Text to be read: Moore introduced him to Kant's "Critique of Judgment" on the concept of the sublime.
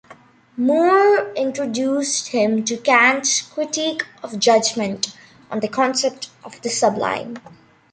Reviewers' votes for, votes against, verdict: 2, 1, accepted